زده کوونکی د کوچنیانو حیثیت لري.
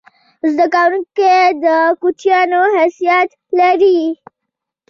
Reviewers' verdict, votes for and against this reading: accepted, 2, 0